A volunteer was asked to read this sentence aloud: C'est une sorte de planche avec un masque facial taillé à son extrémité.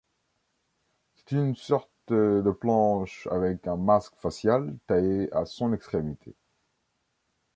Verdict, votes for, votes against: rejected, 1, 2